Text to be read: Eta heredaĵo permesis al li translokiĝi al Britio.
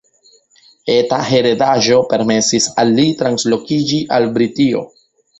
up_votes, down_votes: 2, 0